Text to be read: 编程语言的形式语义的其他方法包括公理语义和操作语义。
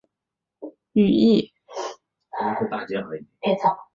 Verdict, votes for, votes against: rejected, 0, 2